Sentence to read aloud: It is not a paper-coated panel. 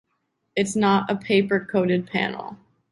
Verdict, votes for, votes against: rejected, 1, 2